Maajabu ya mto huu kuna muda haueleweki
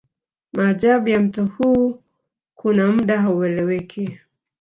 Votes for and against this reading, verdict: 2, 0, accepted